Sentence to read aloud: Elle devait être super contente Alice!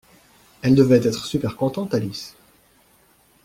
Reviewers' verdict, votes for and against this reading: accepted, 2, 0